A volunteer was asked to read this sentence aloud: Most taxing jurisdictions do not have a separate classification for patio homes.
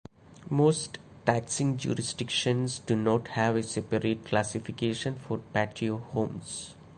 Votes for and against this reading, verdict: 2, 1, accepted